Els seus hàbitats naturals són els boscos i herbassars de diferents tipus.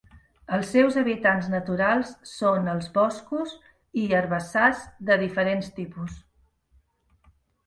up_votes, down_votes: 1, 2